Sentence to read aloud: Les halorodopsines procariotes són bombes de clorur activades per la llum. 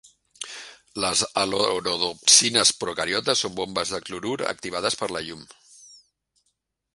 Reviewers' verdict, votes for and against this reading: accepted, 2, 0